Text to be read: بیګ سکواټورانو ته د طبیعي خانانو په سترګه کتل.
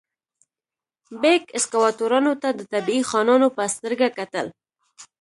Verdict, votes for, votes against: accepted, 2, 0